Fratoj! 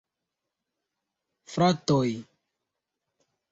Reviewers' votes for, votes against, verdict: 0, 2, rejected